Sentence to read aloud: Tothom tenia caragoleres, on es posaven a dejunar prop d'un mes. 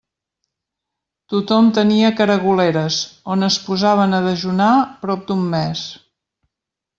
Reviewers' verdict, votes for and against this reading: accepted, 2, 0